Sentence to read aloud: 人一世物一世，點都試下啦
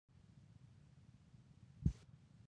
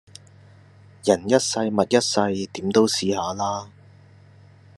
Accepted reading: second